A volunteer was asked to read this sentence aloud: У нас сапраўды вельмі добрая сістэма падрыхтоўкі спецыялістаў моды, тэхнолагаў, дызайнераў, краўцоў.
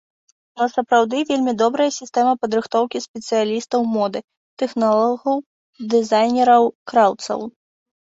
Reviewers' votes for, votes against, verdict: 0, 2, rejected